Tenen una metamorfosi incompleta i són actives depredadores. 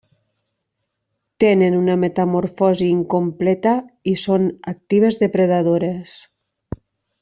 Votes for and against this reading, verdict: 3, 1, accepted